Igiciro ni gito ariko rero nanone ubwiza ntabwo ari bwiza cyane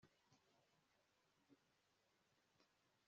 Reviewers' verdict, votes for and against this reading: rejected, 1, 2